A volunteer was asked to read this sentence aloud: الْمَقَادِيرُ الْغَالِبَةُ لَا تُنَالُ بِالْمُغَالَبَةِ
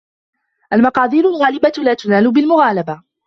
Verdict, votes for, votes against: accepted, 2, 0